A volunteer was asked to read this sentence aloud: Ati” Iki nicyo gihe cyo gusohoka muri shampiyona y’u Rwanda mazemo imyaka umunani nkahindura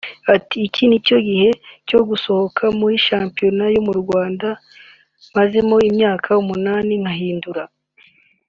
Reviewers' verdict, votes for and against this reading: rejected, 0, 2